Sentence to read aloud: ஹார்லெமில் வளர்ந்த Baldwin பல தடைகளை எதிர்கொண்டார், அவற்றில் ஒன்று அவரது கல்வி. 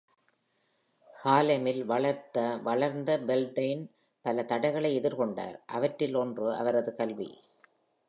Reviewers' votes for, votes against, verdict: 0, 2, rejected